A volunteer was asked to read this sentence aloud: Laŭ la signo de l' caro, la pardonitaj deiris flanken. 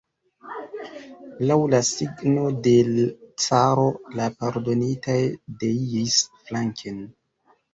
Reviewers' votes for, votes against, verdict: 0, 2, rejected